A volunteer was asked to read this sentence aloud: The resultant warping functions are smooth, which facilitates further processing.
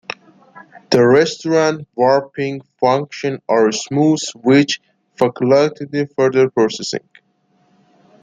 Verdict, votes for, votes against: rejected, 1, 2